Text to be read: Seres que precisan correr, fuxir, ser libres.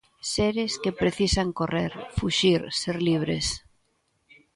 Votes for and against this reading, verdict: 2, 0, accepted